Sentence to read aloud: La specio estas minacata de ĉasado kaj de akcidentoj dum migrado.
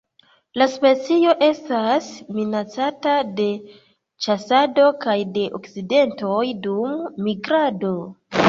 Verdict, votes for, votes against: accepted, 3, 2